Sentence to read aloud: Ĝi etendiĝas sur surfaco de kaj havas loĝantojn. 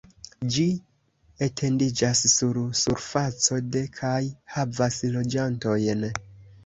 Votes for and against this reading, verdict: 0, 2, rejected